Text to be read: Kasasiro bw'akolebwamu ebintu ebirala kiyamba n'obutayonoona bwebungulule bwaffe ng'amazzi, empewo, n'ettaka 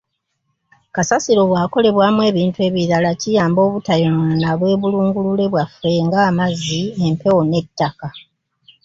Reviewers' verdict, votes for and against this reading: rejected, 1, 2